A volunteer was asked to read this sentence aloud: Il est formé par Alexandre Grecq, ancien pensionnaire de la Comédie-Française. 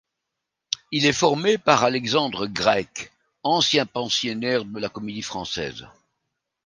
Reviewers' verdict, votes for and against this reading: rejected, 0, 2